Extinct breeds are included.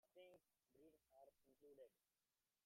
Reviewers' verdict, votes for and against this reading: rejected, 1, 3